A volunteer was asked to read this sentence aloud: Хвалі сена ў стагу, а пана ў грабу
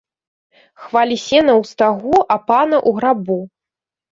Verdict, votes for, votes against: accepted, 2, 0